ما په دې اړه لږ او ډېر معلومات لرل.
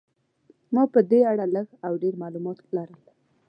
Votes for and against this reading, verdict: 2, 0, accepted